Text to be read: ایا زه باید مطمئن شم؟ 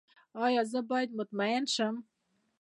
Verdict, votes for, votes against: accepted, 2, 1